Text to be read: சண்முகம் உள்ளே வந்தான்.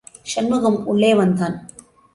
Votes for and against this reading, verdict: 2, 1, accepted